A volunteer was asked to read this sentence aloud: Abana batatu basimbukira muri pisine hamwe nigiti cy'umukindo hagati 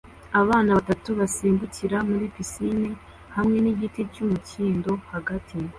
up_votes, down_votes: 2, 0